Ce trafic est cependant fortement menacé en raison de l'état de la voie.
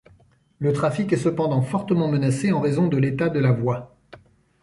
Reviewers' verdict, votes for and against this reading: rejected, 0, 2